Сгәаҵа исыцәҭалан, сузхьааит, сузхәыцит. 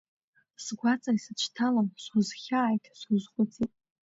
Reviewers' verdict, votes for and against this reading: accepted, 2, 1